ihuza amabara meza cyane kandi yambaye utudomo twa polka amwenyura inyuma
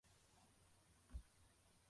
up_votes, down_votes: 0, 2